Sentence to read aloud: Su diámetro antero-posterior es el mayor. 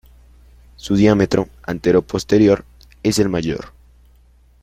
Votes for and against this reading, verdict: 2, 0, accepted